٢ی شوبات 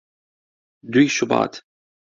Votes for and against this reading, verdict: 0, 2, rejected